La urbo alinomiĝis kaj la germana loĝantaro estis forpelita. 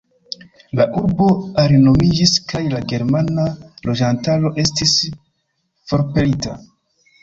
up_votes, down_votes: 2, 0